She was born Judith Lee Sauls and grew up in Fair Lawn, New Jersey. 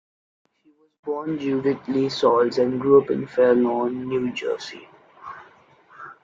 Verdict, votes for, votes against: accepted, 2, 0